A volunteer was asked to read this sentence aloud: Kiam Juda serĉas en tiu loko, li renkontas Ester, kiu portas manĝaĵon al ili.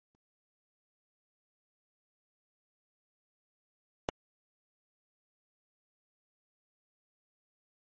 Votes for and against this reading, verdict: 0, 2, rejected